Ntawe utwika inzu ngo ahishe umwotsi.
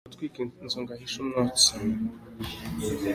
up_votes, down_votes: 2, 1